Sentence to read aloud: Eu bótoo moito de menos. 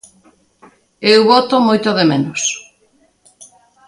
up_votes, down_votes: 3, 0